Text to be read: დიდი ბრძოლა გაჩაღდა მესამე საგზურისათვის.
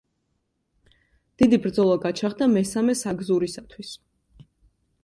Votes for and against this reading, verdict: 2, 0, accepted